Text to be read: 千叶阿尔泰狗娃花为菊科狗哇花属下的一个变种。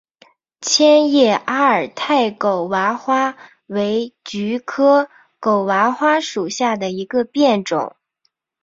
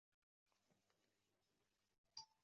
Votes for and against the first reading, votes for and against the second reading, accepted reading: 4, 0, 0, 2, first